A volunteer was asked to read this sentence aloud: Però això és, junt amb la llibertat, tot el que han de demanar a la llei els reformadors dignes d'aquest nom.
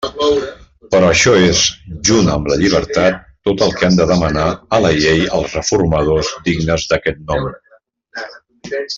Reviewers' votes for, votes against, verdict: 0, 2, rejected